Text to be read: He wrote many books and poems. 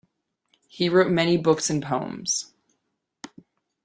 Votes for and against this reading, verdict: 2, 0, accepted